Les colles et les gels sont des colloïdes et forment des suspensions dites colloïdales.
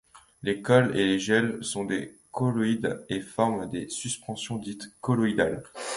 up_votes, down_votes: 2, 0